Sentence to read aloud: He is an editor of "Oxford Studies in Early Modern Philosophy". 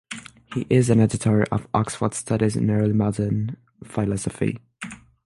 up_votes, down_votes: 6, 3